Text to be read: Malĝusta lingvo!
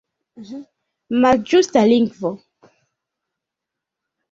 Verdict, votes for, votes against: accepted, 2, 1